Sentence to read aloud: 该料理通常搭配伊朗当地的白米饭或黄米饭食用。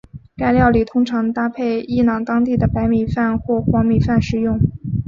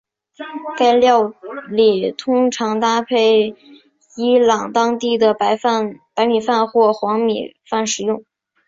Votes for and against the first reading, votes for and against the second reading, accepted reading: 6, 1, 1, 2, first